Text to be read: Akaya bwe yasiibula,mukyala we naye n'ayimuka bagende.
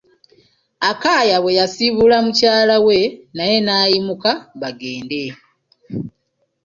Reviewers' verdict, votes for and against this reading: rejected, 1, 2